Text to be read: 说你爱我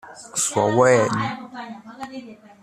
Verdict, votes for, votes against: rejected, 0, 2